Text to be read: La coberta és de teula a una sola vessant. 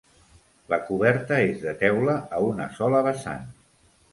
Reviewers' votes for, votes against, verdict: 2, 0, accepted